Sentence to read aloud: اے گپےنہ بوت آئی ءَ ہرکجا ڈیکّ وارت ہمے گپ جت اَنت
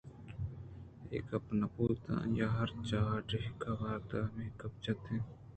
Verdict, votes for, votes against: accepted, 2, 0